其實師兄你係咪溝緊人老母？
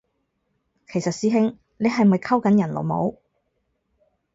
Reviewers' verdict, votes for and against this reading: accepted, 4, 0